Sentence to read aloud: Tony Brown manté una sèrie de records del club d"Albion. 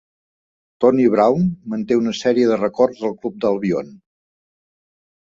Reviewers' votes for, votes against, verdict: 2, 0, accepted